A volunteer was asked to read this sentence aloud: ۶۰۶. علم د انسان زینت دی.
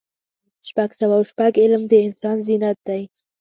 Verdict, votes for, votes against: rejected, 0, 2